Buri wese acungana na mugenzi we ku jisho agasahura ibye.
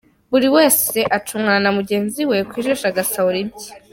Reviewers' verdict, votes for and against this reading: accepted, 3, 0